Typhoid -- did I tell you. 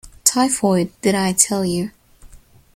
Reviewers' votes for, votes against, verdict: 2, 0, accepted